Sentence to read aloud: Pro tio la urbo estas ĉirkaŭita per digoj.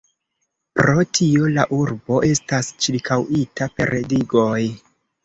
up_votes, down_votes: 2, 1